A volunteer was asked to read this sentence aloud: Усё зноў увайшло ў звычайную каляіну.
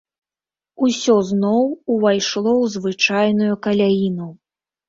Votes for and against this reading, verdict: 2, 0, accepted